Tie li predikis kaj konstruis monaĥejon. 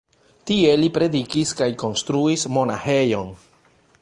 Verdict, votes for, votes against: rejected, 1, 2